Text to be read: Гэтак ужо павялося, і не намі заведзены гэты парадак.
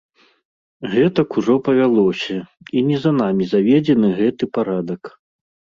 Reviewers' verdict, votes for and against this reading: rejected, 1, 2